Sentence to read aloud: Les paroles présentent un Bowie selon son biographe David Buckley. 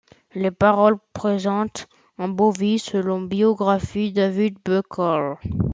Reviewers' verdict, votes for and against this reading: rejected, 0, 2